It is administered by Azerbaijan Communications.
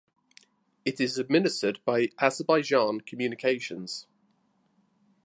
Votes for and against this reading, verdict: 2, 0, accepted